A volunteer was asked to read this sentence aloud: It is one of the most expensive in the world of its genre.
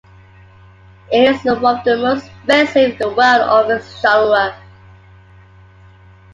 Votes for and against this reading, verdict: 2, 1, accepted